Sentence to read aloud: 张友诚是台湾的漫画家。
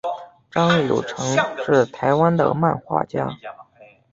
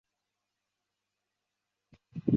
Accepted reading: first